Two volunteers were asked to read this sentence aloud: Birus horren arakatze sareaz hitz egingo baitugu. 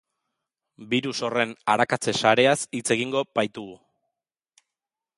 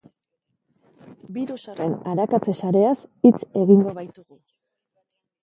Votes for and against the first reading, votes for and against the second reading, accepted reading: 2, 0, 0, 2, first